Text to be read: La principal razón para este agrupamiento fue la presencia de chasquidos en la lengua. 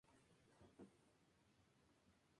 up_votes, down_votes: 0, 2